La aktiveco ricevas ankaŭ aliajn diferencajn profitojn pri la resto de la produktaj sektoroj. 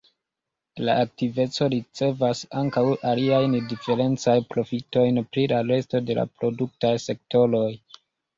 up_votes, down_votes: 2, 1